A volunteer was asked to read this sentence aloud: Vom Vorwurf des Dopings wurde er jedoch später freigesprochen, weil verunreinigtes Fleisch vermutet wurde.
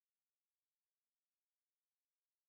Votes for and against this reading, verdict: 0, 2, rejected